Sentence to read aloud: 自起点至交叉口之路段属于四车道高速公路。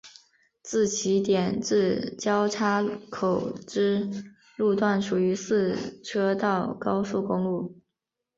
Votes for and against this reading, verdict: 3, 0, accepted